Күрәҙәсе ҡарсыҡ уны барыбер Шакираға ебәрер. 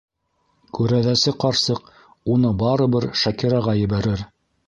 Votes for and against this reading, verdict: 3, 0, accepted